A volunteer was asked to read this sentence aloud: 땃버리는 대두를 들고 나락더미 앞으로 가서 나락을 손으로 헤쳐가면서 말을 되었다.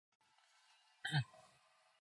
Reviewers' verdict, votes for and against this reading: rejected, 0, 2